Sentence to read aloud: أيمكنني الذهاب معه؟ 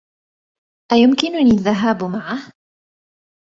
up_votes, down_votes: 2, 0